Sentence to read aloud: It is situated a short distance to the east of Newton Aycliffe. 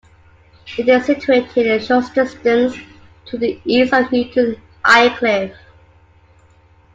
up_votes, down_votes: 1, 2